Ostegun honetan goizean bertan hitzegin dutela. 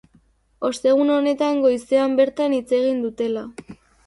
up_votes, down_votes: 2, 0